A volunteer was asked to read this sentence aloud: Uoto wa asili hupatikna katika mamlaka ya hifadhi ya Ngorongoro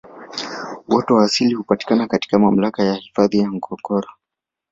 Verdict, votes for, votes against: rejected, 2, 3